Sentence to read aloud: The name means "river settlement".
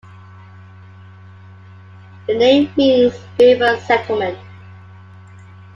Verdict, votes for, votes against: accepted, 2, 0